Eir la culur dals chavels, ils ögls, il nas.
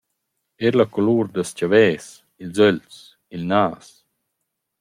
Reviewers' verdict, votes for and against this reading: accepted, 2, 1